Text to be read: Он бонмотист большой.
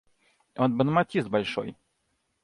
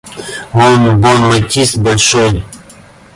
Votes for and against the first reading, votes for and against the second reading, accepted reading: 2, 0, 0, 2, first